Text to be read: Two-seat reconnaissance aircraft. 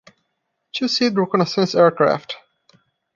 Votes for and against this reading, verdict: 2, 0, accepted